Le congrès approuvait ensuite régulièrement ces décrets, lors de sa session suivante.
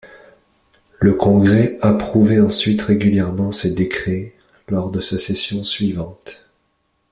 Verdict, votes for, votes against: accepted, 2, 0